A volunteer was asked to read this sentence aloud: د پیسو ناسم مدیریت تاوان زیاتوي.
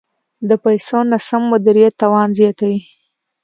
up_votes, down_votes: 2, 0